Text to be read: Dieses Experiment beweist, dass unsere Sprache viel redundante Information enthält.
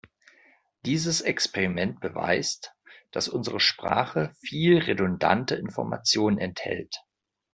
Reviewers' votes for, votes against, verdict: 2, 0, accepted